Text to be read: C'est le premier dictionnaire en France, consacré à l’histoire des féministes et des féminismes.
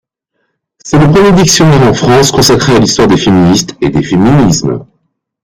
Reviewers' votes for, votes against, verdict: 1, 2, rejected